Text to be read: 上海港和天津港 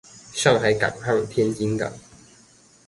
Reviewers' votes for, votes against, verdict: 0, 2, rejected